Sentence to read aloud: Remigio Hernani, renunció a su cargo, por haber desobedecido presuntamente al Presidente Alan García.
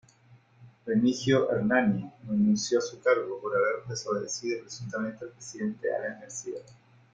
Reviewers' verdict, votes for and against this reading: accepted, 2, 0